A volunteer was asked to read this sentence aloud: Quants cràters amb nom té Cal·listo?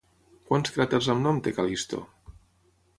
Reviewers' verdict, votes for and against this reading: accepted, 3, 0